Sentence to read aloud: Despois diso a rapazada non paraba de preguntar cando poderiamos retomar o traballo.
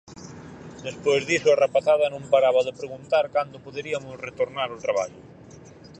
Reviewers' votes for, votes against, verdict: 0, 4, rejected